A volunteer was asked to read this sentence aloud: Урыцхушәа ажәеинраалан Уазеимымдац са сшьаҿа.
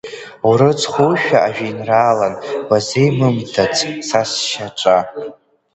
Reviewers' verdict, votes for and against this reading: accepted, 2, 0